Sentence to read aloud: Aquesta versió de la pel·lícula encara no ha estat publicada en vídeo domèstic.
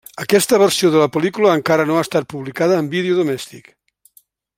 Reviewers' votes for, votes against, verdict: 3, 0, accepted